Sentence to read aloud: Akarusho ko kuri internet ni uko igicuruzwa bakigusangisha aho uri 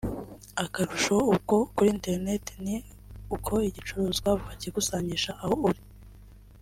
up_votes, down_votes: 1, 2